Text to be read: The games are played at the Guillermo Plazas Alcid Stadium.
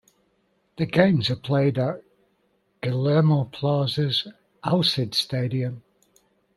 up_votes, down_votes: 0, 2